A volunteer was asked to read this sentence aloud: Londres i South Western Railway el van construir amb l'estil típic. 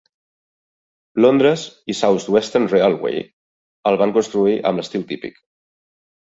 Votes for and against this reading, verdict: 3, 0, accepted